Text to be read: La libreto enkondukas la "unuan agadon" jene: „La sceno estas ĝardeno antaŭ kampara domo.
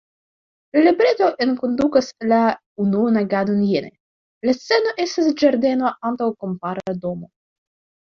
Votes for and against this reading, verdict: 0, 3, rejected